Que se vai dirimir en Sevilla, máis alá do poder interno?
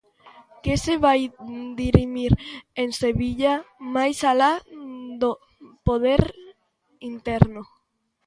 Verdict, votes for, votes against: accepted, 2, 0